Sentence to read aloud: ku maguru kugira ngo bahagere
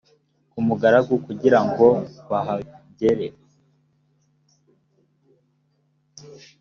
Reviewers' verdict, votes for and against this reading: rejected, 1, 2